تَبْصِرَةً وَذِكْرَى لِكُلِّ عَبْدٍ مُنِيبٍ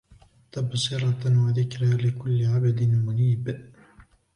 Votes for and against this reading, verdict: 3, 1, accepted